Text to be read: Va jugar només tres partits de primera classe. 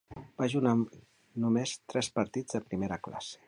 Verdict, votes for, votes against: rejected, 1, 2